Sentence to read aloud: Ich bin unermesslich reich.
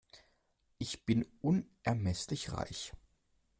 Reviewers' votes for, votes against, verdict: 2, 0, accepted